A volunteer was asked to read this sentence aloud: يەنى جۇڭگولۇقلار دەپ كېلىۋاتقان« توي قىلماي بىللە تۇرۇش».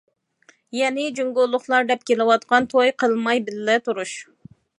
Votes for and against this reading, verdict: 2, 0, accepted